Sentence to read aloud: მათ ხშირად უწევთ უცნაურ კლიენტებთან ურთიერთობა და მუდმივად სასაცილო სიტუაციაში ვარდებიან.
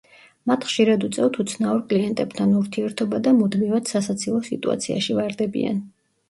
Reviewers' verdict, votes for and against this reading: rejected, 1, 2